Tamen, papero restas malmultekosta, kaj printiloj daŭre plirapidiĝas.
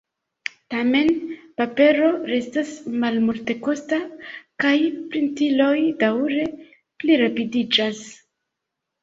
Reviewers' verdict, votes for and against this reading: accepted, 2, 0